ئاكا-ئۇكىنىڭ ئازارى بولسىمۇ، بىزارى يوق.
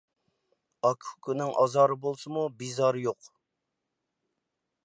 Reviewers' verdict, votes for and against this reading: accepted, 2, 0